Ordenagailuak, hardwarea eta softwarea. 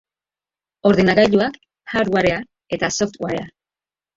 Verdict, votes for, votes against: rejected, 1, 2